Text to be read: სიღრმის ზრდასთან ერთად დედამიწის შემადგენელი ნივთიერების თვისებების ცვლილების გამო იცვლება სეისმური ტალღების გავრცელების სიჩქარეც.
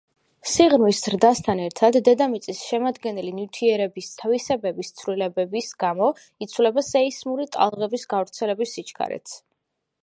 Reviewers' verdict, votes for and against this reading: rejected, 1, 2